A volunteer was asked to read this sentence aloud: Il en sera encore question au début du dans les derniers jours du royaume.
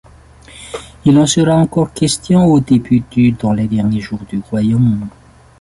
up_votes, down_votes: 0, 2